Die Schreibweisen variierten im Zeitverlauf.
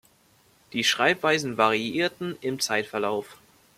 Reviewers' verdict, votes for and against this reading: accepted, 2, 0